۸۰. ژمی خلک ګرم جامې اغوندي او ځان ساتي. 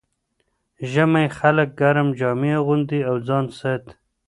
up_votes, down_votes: 0, 2